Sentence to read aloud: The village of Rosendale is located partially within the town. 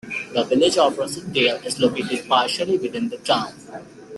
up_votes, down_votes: 2, 1